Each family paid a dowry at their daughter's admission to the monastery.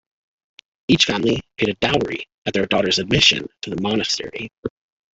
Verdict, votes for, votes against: accepted, 2, 1